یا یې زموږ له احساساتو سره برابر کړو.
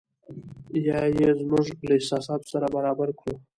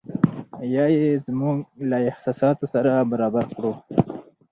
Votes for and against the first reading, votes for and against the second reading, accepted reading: 0, 2, 2, 0, second